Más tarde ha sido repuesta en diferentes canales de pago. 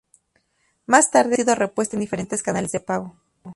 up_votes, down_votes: 0, 2